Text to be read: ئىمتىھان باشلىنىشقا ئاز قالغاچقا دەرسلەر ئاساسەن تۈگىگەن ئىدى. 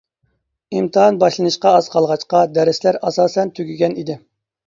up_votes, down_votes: 2, 0